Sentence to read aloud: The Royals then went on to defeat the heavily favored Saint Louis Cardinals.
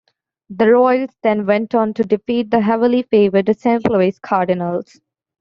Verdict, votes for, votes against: accepted, 2, 0